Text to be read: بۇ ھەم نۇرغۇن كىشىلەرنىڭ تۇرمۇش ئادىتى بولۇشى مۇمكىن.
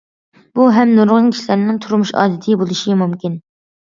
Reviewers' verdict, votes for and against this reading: accepted, 2, 0